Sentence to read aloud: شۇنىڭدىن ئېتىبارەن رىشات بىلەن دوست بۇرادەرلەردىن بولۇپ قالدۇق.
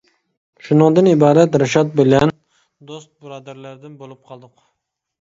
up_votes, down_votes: 0, 2